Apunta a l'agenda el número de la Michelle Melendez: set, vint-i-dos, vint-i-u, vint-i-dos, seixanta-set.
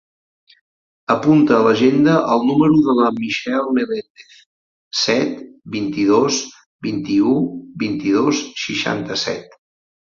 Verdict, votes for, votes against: accepted, 4, 0